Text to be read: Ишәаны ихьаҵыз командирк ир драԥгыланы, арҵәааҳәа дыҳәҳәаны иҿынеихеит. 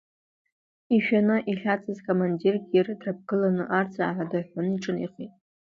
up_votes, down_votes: 1, 2